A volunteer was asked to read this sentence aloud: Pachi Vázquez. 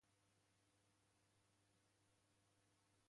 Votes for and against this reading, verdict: 0, 2, rejected